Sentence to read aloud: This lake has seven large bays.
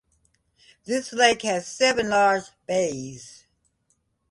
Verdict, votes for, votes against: accepted, 2, 0